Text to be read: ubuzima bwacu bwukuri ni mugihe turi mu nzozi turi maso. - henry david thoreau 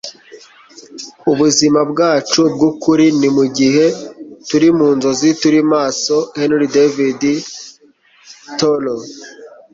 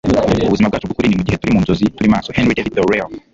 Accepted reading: first